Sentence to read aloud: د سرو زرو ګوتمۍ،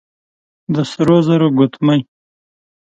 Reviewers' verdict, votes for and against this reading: accepted, 2, 0